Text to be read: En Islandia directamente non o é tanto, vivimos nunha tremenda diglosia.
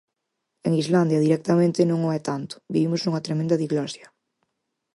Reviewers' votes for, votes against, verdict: 4, 0, accepted